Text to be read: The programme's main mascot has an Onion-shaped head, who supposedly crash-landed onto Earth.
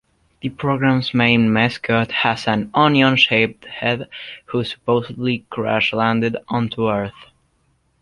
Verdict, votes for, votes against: accepted, 2, 0